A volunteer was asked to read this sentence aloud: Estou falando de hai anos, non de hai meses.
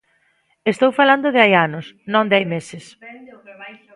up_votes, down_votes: 1, 2